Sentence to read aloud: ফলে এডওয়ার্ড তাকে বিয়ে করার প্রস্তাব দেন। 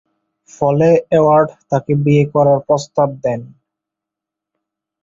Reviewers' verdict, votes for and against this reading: rejected, 0, 2